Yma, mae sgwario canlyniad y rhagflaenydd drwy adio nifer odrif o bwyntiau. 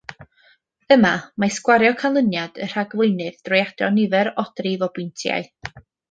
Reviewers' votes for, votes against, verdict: 2, 0, accepted